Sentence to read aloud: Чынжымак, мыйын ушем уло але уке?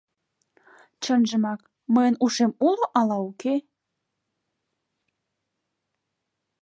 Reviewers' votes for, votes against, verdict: 0, 2, rejected